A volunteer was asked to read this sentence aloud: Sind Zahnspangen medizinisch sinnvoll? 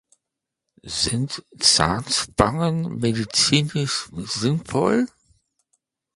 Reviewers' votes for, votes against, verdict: 1, 2, rejected